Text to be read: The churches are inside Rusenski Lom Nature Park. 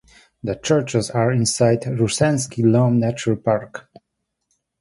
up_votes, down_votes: 0, 2